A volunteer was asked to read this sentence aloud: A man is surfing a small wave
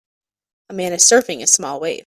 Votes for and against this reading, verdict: 2, 0, accepted